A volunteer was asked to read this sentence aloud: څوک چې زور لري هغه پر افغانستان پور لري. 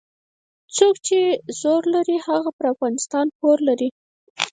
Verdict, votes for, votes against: rejected, 0, 4